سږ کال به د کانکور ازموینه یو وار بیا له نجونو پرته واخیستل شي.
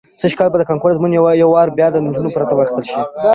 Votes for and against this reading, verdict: 2, 0, accepted